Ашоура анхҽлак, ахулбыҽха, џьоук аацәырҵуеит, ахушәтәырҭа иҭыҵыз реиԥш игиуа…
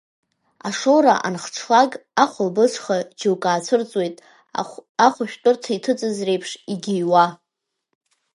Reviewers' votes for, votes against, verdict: 2, 0, accepted